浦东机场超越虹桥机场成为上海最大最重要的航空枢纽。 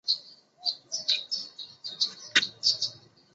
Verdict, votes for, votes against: rejected, 0, 3